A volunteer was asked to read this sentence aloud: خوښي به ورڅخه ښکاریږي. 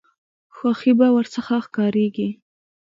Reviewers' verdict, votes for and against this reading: accepted, 2, 1